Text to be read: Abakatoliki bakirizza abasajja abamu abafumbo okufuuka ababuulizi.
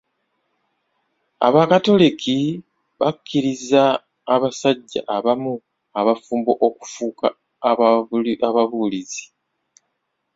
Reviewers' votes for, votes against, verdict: 1, 2, rejected